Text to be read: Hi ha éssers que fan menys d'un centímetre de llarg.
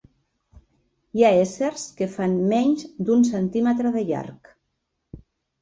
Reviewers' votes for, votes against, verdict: 3, 0, accepted